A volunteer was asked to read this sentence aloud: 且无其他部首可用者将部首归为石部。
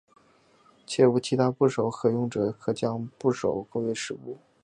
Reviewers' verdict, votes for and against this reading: accepted, 2, 0